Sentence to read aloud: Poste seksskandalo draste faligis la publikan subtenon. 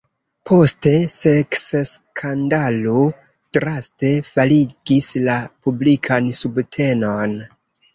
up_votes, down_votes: 1, 2